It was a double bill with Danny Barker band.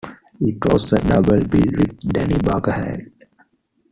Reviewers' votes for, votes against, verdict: 0, 2, rejected